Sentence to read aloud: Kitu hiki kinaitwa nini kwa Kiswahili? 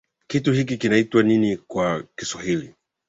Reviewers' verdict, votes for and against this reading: accepted, 2, 1